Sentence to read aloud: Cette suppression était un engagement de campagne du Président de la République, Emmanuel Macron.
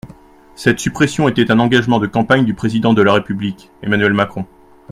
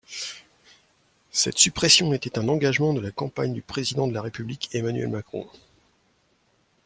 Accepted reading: first